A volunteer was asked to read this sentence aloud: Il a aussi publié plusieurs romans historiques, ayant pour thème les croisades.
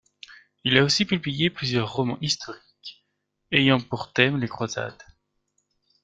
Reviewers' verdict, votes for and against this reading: accepted, 2, 0